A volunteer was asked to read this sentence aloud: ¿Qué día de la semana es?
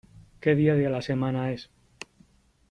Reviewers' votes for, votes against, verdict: 3, 0, accepted